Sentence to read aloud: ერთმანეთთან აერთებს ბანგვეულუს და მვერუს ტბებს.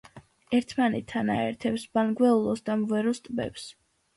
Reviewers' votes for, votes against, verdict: 2, 1, accepted